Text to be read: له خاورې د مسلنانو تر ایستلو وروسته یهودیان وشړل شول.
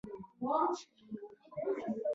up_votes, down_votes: 1, 2